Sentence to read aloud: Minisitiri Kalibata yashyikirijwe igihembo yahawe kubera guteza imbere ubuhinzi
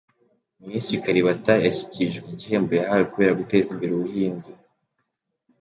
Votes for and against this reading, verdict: 2, 0, accepted